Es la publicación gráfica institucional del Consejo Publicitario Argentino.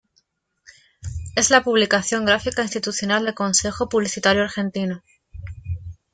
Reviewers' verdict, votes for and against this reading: accepted, 2, 0